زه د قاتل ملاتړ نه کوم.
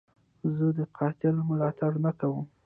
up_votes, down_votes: 1, 2